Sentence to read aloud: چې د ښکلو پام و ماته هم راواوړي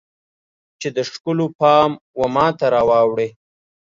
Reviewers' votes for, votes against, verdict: 0, 2, rejected